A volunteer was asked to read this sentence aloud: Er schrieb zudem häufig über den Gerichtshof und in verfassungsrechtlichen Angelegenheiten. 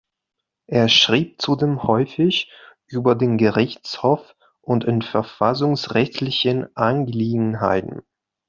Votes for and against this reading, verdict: 0, 2, rejected